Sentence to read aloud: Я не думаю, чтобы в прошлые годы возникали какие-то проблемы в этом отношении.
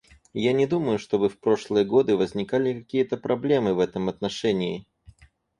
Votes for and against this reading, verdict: 4, 0, accepted